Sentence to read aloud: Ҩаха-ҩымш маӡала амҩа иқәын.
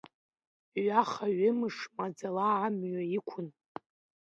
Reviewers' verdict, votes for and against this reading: rejected, 1, 2